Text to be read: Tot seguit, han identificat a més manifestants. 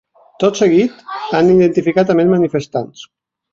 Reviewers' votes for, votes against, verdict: 0, 2, rejected